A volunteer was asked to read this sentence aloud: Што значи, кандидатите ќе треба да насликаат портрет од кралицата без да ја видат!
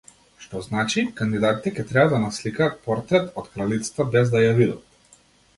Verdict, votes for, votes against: accepted, 2, 0